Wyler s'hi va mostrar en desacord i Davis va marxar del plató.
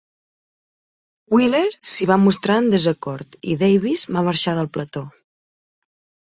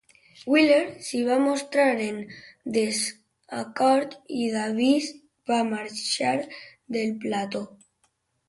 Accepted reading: first